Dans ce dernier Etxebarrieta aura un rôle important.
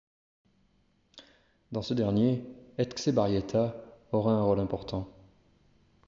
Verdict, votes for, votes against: accepted, 2, 0